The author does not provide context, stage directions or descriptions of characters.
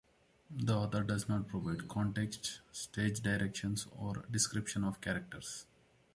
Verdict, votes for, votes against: accepted, 2, 1